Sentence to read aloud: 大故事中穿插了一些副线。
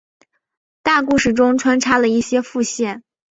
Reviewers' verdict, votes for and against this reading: rejected, 1, 2